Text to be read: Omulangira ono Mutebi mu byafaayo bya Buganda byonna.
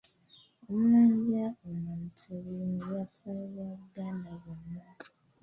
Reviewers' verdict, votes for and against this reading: accepted, 2, 1